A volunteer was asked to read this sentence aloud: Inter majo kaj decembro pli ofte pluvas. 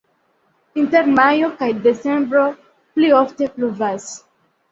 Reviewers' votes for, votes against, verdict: 1, 2, rejected